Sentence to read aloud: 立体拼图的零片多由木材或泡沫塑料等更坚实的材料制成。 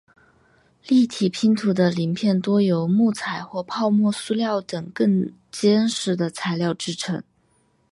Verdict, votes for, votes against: accepted, 2, 1